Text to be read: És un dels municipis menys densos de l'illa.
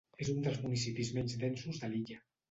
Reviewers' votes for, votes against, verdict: 1, 2, rejected